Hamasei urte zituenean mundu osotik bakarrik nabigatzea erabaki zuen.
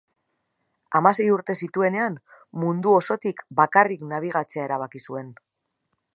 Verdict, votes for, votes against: accepted, 2, 0